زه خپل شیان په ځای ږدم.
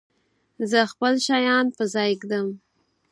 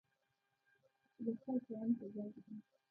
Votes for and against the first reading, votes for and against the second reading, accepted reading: 4, 0, 0, 2, first